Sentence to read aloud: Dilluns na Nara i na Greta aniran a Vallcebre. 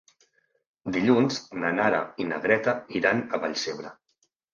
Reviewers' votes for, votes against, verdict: 1, 2, rejected